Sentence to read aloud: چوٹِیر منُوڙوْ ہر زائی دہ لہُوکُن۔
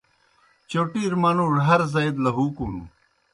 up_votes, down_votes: 2, 0